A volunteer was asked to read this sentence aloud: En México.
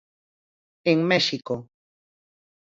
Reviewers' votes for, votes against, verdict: 4, 0, accepted